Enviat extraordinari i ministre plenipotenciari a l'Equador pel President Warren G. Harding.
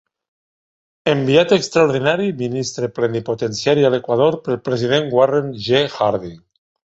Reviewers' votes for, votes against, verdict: 2, 0, accepted